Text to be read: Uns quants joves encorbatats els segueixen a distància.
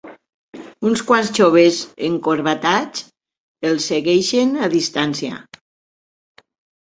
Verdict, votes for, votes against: accepted, 2, 1